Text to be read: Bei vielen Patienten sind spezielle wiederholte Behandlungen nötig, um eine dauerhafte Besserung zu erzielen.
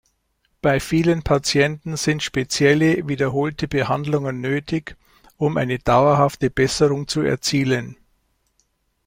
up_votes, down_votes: 2, 0